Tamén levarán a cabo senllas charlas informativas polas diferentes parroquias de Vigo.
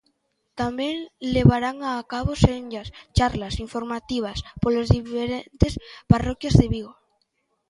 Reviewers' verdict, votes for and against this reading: accepted, 2, 0